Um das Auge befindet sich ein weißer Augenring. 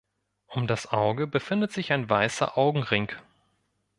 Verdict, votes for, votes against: accepted, 2, 0